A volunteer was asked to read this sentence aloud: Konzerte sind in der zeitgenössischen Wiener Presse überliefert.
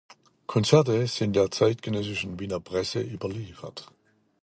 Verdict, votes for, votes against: rejected, 0, 2